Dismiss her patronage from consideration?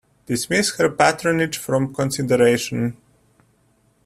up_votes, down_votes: 1, 2